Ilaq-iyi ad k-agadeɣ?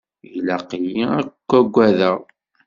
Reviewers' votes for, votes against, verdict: 0, 2, rejected